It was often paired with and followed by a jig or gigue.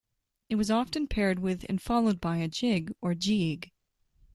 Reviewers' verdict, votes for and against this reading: accepted, 2, 0